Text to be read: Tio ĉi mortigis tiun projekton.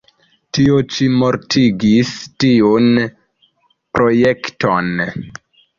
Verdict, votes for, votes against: accepted, 2, 0